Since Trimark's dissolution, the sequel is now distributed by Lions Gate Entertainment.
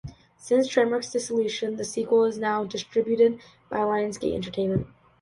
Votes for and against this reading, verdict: 2, 0, accepted